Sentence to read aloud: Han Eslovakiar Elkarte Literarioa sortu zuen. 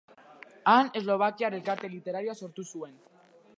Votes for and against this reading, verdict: 2, 1, accepted